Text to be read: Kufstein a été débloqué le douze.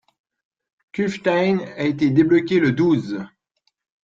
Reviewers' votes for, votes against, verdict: 2, 0, accepted